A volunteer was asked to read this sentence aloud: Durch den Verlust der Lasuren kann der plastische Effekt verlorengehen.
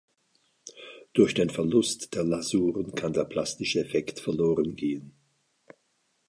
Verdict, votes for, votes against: accepted, 2, 0